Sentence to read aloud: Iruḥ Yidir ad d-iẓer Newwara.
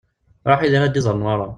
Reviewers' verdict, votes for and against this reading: rejected, 1, 2